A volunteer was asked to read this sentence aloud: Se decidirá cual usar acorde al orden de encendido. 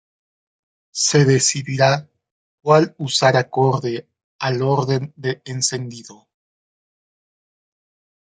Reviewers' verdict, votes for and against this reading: accepted, 2, 1